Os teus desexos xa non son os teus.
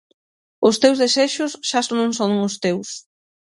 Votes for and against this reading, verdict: 0, 6, rejected